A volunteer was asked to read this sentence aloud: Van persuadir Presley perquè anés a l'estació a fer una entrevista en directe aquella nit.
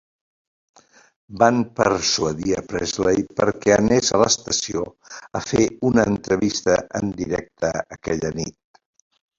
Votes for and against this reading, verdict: 0, 2, rejected